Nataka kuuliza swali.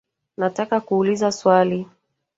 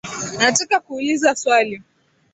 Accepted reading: second